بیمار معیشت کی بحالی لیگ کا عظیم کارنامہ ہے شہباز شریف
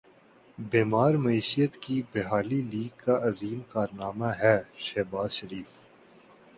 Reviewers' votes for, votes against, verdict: 9, 1, accepted